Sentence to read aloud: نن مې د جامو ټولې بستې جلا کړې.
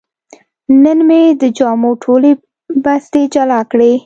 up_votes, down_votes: 2, 0